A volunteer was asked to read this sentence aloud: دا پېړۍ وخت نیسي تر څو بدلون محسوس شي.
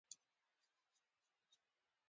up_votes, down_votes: 2, 1